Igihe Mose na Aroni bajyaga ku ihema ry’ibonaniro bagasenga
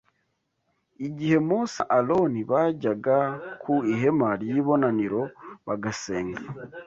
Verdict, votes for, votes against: rejected, 0, 2